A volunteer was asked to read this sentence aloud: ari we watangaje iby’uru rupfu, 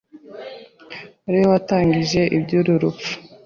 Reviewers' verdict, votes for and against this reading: rejected, 0, 2